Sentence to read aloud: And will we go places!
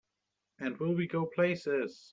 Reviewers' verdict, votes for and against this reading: accepted, 2, 0